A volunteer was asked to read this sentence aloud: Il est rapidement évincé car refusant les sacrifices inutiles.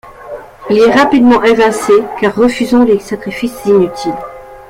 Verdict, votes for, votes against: rejected, 1, 2